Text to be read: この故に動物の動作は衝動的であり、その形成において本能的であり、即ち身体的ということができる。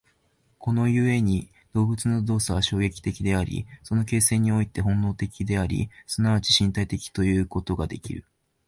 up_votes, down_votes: 2, 3